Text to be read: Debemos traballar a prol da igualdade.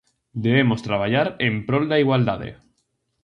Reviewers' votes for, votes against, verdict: 0, 4, rejected